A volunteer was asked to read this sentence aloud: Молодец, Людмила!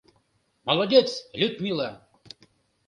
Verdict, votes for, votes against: accepted, 2, 0